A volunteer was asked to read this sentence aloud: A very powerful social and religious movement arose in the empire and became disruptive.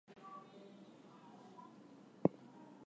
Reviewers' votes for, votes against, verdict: 0, 2, rejected